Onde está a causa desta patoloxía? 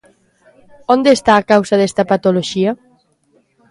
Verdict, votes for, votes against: accepted, 2, 0